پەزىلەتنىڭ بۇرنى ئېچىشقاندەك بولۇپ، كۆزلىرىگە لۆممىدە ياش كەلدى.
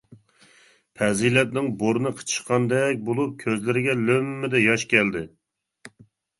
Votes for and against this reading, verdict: 0, 2, rejected